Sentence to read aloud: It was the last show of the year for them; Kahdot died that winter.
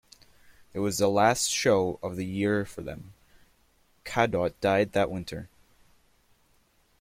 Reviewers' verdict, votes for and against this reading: accepted, 2, 0